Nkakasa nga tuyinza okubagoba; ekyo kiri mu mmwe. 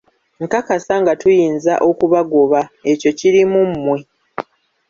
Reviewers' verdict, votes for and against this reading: rejected, 1, 2